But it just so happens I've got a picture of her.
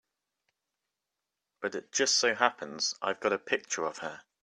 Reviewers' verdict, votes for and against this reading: accepted, 2, 0